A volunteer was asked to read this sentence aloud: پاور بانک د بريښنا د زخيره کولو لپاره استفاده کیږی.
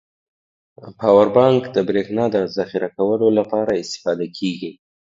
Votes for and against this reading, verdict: 2, 0, accepted